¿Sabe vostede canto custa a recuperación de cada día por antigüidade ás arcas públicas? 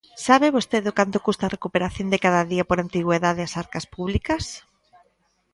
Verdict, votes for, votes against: rejected, 0, 2